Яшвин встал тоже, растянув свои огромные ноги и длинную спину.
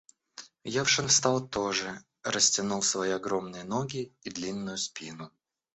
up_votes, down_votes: 0, 2